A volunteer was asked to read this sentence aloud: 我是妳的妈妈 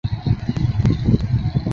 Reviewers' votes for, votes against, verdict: 0, 3, rejected